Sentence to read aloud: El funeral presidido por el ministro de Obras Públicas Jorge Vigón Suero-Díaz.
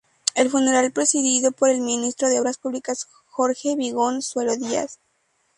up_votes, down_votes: 2, 2